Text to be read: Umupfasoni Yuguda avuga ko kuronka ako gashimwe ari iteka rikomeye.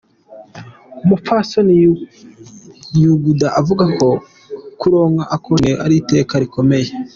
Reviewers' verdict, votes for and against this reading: rejected, 0, 2